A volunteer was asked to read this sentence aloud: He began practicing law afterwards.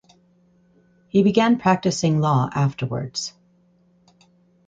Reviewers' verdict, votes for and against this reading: accepted, 4, 0